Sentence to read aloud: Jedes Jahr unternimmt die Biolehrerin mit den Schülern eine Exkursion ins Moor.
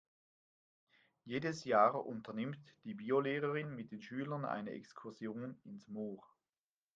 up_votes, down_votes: 2, 0